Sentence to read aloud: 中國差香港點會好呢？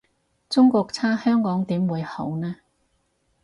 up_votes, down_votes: 4, 0